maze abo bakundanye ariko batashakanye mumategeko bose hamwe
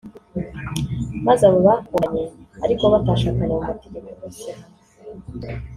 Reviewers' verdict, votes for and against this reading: rejected, 1, 2